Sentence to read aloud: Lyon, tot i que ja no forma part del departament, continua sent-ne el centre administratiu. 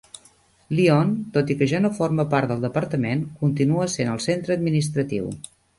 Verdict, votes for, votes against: rejected, 0, 2